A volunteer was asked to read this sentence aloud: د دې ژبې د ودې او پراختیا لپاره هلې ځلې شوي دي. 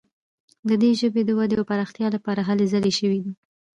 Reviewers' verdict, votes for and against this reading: accepted, 2, 0